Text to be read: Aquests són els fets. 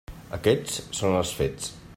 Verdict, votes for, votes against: accepted, 3, 0